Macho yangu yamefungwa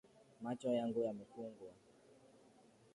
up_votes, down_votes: 2, 1